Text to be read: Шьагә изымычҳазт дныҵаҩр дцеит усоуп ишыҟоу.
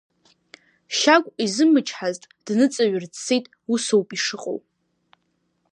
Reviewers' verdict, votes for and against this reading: accepted, 2, 1